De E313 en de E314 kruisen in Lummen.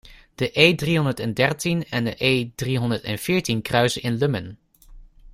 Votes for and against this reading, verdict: 0, 2, rejected